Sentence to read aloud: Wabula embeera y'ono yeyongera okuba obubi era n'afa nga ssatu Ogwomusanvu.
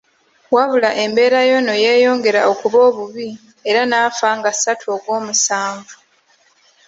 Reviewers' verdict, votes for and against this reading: accepted, 2, 1